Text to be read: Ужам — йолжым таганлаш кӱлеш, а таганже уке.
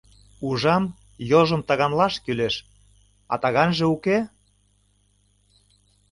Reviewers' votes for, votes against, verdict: 2, 1, accepted